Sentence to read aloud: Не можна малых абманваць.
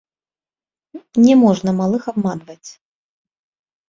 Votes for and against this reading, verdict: 1, 2, rejected